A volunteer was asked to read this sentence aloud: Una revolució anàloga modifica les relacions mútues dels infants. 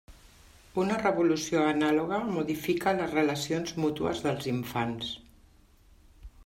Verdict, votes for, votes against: accepted, 3, 0